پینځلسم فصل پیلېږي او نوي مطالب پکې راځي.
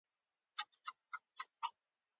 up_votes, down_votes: 1, 2